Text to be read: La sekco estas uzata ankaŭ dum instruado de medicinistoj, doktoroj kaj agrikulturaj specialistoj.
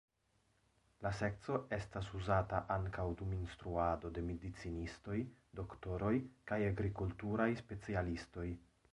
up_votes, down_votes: 1, 2